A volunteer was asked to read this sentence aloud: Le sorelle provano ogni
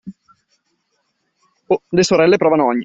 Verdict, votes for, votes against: rejected, 1, 2